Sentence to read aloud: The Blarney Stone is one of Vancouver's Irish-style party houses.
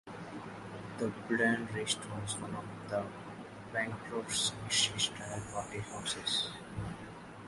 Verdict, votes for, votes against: rejected, 0, 2